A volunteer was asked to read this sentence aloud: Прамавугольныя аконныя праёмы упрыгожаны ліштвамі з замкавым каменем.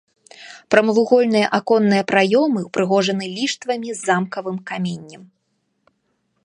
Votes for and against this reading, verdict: 2, 0, accepted